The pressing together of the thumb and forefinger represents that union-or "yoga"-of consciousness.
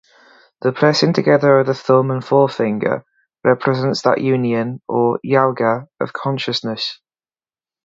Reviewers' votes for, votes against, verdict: 2, 0, accepted